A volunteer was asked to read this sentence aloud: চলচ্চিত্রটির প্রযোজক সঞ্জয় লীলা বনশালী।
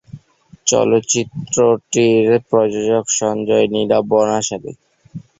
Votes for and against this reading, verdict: 6, 9, rejected